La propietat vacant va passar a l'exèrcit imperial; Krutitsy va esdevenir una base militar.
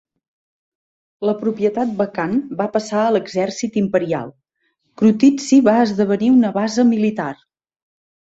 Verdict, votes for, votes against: accepted, 2, 0